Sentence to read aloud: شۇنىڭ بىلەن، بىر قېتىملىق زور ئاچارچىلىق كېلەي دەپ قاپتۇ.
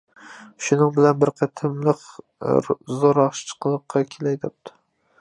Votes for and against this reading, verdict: 0, 2, rejected